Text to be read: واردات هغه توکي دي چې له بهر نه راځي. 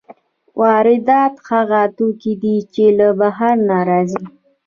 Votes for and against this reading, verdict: 2, 0, accepted